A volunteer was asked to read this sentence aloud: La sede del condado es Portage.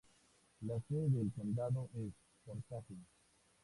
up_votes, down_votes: 2, 0